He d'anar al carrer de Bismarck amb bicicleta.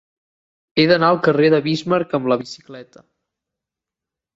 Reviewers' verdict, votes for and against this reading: rejected, 0, 3